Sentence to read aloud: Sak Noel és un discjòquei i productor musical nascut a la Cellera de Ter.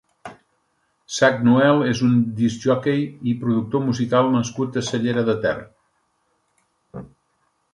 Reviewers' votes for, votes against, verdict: 1, 2, rejected